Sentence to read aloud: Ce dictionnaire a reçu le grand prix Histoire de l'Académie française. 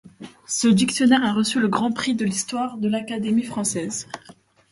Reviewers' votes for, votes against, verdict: 0, 2, rejected